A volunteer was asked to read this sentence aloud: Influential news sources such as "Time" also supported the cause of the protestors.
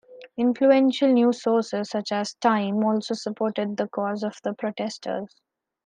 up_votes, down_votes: 2, 0